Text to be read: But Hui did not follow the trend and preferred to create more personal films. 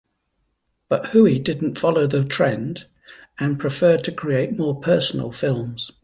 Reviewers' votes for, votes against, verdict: 1, 2, rejected